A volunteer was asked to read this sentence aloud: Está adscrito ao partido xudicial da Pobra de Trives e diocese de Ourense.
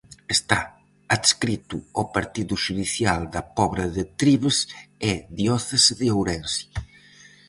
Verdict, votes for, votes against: rejected, 0, 4